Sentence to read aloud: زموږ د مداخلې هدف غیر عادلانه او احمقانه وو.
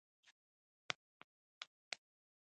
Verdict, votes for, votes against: rejected, 0, 2